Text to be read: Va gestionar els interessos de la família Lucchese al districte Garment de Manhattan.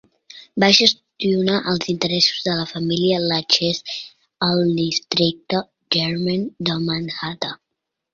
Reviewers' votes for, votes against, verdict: 2, 3, rejected